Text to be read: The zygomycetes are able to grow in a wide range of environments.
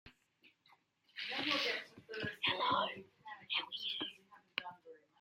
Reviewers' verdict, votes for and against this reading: rejected, 0, 2